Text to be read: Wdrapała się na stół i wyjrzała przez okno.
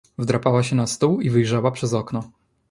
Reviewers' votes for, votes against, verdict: 2, 0, accepted